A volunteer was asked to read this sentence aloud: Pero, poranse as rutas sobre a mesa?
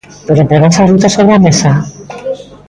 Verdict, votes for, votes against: accepted, 2, 1